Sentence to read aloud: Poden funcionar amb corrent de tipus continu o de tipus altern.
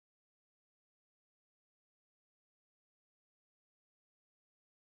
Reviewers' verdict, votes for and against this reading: rejected, 0, 2